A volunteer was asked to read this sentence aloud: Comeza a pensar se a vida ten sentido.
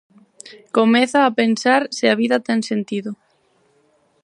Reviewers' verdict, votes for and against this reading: accepted, 4, 0